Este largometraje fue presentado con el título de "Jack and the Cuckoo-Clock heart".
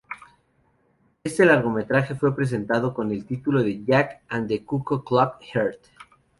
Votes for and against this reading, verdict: 0, 2, rejected